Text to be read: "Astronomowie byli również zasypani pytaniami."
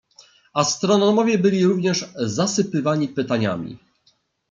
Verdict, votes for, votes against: rejected, 0, 2